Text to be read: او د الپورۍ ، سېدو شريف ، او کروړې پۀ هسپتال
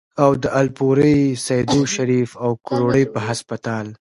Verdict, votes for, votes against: rejected, 1, 2